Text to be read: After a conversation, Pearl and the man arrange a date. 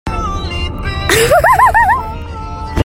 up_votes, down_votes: 0, 2